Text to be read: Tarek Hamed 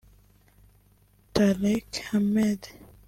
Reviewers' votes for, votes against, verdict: 0, 2, rejected